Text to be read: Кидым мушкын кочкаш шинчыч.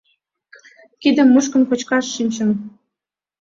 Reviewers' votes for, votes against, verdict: 0, 2, rejected